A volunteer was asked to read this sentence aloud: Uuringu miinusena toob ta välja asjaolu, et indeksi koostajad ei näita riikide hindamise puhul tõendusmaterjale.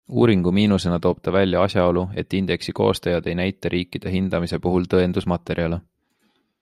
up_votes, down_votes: 3, 0